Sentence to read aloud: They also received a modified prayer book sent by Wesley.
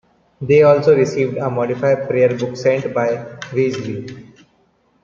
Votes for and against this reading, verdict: 2, 1, accepted